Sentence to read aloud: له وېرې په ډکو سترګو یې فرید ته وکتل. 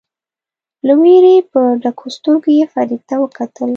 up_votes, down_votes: 2, 0